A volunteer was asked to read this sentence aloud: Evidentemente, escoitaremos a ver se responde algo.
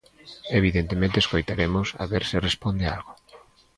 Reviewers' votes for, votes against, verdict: 2, 0, accepted